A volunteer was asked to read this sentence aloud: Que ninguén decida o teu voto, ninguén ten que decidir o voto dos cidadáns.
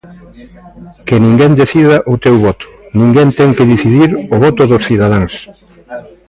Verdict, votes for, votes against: rejected, 1, 2